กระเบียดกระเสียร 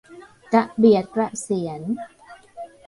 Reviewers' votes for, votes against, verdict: 0, 2, rejected